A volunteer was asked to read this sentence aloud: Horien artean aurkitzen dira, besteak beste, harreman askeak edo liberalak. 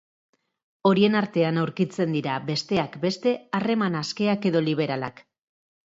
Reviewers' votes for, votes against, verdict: 2, 0, accepted